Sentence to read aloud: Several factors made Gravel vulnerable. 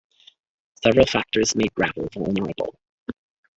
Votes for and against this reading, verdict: 1, 2, rejected